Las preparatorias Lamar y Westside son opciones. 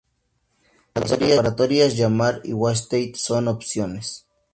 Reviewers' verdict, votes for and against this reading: rejected, 0, 2